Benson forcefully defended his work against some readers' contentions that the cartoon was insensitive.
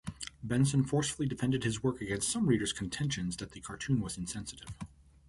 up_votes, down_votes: 2, 0